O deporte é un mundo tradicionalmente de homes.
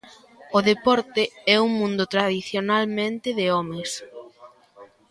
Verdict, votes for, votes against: accepted, 2, 1